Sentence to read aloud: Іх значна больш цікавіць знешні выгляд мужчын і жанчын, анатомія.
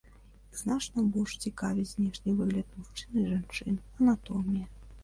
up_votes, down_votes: 0, 2